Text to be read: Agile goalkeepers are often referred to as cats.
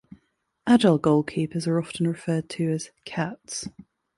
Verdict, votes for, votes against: accepted, 2, 0